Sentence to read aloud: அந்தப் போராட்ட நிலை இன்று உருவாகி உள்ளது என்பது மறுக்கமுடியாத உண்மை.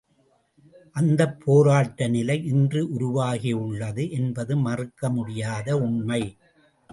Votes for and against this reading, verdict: 2, 0, accepted